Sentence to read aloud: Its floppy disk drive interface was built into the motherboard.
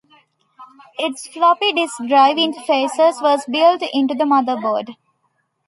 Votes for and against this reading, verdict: 1, 2, rejected